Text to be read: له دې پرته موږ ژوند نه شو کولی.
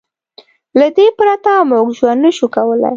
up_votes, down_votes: 2, 0